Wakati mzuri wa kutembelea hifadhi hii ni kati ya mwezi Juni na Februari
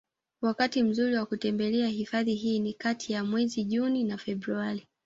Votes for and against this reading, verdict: 1, 2, rejected